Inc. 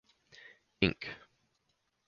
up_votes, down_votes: 4, 0